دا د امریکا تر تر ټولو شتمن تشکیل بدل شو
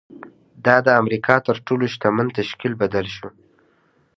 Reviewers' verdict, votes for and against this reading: accepted, 2, 0